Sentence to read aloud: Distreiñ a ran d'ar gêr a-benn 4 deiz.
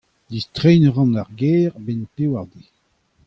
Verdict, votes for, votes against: rejected, 0, 2